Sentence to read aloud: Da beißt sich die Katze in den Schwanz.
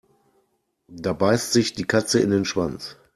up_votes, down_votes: 2, 0